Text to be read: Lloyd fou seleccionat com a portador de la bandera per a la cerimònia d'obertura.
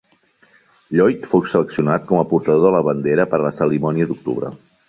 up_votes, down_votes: 0, 2